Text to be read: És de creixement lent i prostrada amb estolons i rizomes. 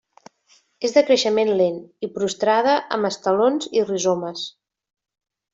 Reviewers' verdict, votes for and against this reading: rejected, 0, 2